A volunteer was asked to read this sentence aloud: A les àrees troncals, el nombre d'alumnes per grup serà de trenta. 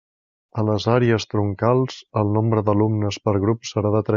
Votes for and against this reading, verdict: 0, 2, rejected